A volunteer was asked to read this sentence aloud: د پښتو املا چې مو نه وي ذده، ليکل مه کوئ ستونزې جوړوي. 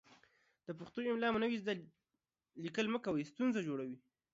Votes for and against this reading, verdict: 1, 2, rejected